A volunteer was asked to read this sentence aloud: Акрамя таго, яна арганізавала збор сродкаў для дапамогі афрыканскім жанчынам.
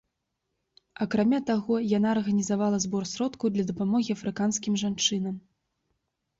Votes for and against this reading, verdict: 3, 0, accepted